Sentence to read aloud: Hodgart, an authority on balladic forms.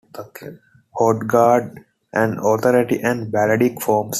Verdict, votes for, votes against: rejected, 0, 2